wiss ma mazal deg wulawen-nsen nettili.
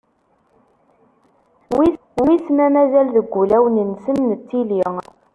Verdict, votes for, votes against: rejected, 0, 2